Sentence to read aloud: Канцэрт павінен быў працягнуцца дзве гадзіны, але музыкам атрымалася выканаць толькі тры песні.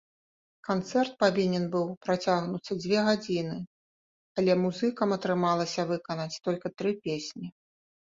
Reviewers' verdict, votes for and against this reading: rejected, 1, 2